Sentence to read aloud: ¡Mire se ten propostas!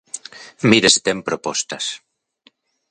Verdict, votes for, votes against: accepted, 2, 0